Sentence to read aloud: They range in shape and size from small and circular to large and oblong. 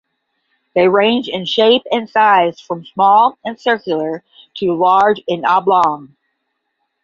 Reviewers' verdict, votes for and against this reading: accepted, 10, 0